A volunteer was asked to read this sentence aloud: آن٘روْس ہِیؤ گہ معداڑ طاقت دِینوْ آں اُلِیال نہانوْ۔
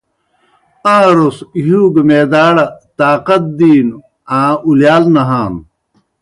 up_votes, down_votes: 2, 0